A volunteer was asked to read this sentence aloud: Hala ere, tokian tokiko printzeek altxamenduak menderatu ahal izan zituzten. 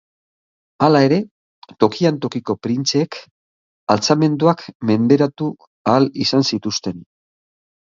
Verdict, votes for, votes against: accepted, 2, 0